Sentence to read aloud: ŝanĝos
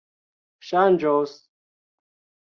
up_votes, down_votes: 1, 2